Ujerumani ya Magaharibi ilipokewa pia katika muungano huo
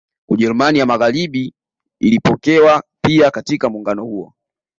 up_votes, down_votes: 2, 0